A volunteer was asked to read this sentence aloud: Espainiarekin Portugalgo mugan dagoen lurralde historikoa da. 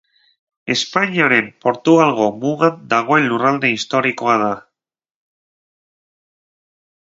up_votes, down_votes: 0, 4